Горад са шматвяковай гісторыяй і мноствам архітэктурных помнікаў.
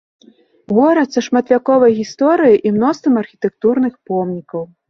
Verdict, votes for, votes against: accepted, 2, 0